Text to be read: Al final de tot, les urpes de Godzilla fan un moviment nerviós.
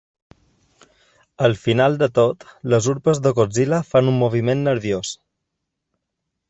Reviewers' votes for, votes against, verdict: 2, 0, accepted